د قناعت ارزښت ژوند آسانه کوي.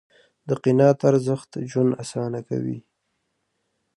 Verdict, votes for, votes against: rejected, 1, 2